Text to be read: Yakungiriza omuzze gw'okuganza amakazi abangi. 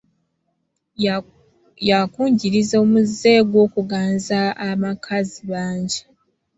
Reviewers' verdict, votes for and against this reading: rejected, 1, 2